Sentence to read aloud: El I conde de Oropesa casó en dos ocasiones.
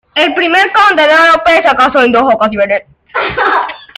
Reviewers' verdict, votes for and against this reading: rejected, 0, 2